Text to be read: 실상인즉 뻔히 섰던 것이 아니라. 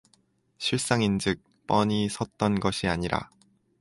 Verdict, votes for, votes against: accepted, 4, 0